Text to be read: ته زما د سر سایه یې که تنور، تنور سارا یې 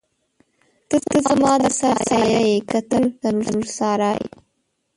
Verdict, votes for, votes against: rejected, 0, 2